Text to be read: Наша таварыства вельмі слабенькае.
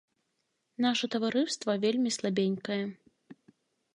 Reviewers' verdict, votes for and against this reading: rejected, 0, 2